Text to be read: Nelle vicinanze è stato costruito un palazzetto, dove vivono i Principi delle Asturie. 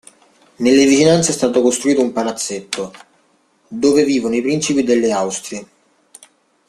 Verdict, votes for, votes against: rejected, 0, 2